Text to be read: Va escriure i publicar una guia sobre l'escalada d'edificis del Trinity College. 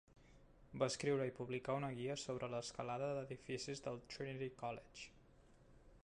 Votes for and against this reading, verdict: 0, 2, rejected